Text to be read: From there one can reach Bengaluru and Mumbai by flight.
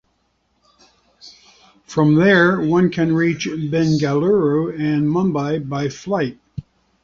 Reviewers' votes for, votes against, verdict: 2, 1, accepted